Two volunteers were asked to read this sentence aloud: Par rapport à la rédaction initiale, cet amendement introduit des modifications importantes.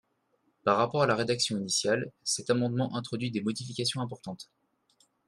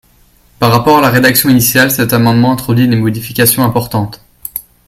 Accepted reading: second